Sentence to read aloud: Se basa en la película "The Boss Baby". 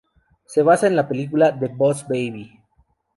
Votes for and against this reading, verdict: 4, 0, accepted